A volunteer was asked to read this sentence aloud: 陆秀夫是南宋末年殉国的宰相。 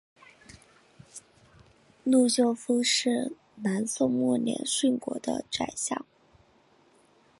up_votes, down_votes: 0, 2